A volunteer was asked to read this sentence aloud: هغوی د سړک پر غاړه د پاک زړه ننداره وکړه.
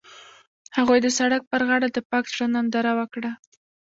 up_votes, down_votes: 0, 2